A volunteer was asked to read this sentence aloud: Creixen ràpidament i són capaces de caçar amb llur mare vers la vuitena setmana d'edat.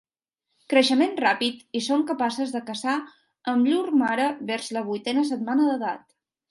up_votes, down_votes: 0, 2